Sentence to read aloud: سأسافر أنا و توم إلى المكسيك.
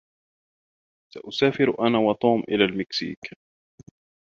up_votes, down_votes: 2, 0